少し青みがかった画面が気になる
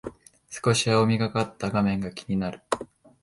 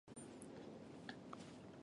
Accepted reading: first